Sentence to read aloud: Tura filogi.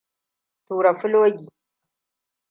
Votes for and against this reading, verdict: 2, 1, accepted